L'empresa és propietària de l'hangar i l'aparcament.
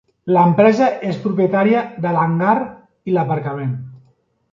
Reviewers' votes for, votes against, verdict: 3, 0, accepted